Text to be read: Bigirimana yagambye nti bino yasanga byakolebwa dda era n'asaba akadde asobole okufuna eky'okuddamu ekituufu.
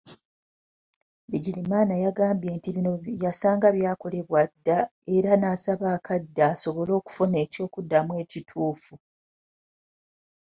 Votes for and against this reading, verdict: 2, 0, accepted